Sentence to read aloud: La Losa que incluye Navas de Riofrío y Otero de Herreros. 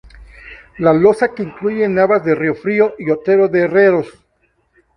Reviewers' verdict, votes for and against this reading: accepted, 2, 0